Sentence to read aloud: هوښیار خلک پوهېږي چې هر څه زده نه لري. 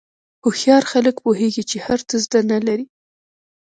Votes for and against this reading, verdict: 2, 1, accepted